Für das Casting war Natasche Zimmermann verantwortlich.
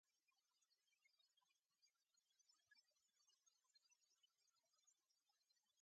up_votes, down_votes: 0, 2